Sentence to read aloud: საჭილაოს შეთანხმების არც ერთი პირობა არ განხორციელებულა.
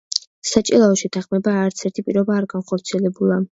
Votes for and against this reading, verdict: 0, 2, rejected